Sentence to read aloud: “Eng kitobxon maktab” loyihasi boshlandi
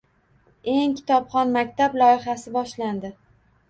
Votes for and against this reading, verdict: 2, 0, accepted